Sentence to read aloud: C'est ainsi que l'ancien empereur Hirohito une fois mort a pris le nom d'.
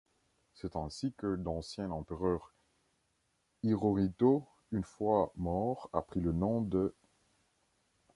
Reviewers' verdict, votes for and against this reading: rejected, 0, 2